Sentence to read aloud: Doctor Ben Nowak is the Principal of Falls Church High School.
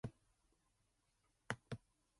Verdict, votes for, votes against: rejected, 0, 2